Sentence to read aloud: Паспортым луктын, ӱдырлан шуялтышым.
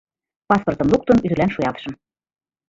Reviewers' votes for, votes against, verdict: 2, 1, accepted